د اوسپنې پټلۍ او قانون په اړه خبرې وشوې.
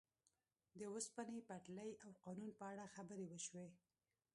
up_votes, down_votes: 1, 2